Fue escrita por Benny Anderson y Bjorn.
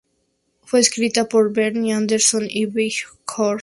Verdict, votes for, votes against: accepted, 2, 0